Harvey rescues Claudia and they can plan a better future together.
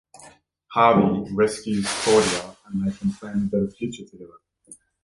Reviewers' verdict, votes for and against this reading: rejected, 0, 2